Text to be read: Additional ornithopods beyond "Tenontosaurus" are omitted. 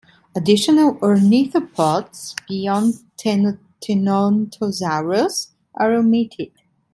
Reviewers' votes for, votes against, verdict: 1, 2, rejected